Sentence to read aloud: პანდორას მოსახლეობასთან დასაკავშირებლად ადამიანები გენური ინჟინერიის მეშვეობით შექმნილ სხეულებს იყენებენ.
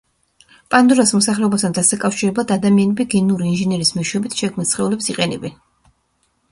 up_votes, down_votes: 2, 0